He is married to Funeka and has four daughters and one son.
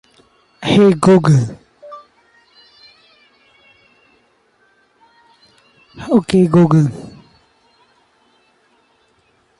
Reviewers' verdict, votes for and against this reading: rejected, 0, 2